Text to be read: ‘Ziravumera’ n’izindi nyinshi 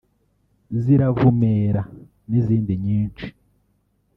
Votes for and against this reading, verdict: 2, 1, accepted